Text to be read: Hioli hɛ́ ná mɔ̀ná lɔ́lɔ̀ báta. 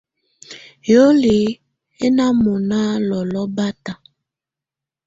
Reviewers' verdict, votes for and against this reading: accepted, 2, 0